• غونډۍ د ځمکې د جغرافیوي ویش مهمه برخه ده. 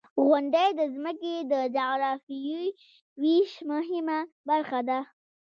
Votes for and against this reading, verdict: 0, 2, rejected